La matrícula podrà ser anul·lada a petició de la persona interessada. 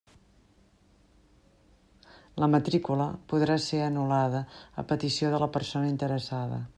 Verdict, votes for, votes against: accepted, 3, 0